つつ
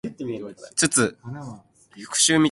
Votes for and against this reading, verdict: 0, 2, rejected